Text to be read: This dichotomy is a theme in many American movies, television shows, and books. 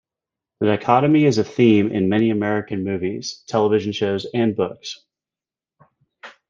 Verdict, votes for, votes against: rejected, 1, 2